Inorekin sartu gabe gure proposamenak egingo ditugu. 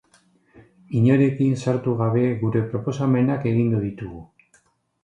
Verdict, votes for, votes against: accepted, 2, 0